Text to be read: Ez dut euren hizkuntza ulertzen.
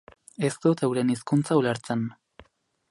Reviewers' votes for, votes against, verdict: 0, 2, rejected